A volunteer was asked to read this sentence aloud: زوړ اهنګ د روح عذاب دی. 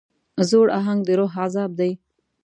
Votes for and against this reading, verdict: 2, 0, accepted